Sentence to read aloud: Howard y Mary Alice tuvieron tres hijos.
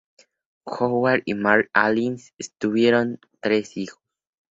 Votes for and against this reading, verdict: 0, 2, rejected